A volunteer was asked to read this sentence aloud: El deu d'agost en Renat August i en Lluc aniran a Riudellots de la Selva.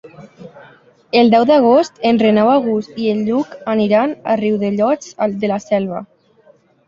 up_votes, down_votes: 1, 2